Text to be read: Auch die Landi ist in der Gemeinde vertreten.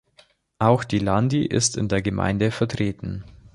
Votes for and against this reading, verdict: 2, 0, accepted